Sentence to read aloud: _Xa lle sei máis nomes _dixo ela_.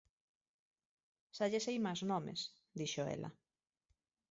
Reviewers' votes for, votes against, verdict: 1, 3, rejected